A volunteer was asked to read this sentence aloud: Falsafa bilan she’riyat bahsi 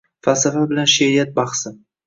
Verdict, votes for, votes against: accepted, 2, 0